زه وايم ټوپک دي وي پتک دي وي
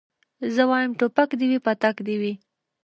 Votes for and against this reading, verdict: 0, 2, rejected